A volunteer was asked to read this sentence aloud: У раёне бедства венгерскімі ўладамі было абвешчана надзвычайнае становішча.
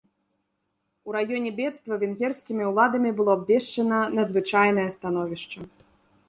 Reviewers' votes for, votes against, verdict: 3, 0, accepted